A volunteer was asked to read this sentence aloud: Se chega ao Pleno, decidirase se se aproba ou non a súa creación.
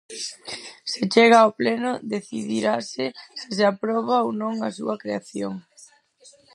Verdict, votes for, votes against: rejected, 0, 4